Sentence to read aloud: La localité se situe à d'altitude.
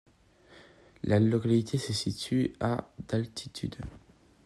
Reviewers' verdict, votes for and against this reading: accepted, 2, 0